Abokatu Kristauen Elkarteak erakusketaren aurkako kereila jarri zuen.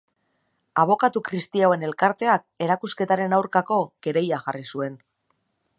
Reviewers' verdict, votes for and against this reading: rejected, 0, 2